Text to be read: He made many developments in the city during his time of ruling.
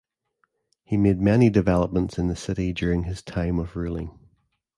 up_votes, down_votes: 3, 0